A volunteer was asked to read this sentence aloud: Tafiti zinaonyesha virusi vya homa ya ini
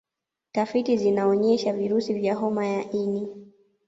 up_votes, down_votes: 0, 2